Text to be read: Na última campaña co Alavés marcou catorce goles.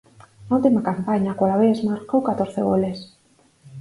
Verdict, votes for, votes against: accepted, 4, 2